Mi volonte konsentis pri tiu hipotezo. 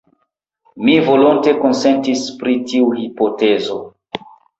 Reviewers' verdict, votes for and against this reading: accepted, 2, 0